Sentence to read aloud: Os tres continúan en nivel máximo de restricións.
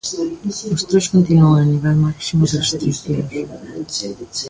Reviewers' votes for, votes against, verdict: 2, 0, accepted